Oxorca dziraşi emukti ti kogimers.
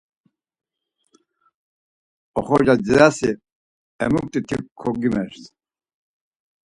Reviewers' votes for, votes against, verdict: 2, 4, rejected